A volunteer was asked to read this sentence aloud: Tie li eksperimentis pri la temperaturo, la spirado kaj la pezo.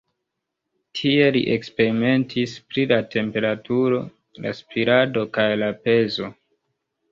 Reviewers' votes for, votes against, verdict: 1, 2, rejected